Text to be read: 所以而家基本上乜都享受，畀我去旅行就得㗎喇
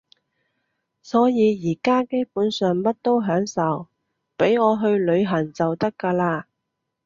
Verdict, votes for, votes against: accepted, 2, 0